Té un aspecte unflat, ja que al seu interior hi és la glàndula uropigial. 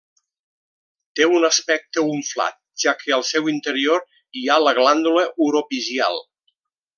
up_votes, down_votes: 1, 2